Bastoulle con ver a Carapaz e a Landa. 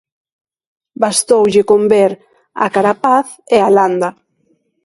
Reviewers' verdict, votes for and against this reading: accepted, 2, 0